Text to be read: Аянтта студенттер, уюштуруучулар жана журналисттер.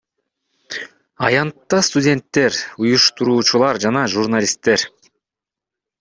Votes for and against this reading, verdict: 2, 1, accepted